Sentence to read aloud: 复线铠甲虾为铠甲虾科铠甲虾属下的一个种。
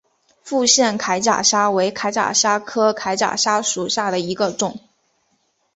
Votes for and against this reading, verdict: 3, 1, accepted